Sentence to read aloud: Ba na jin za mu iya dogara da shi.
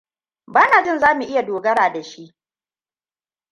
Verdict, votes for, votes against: accepted, 2, 0